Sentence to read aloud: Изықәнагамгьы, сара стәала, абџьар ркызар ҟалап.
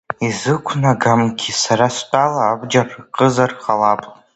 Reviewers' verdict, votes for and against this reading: rejected, 0, 2